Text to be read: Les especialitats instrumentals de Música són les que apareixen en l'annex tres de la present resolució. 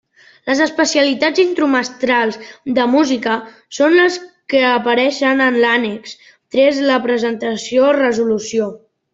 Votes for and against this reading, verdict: 0, 2, rejected